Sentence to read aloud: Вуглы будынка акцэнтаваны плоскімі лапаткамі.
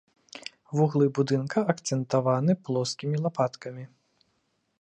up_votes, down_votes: 2, 0